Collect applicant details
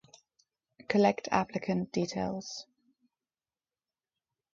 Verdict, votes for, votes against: rejected, 2, 2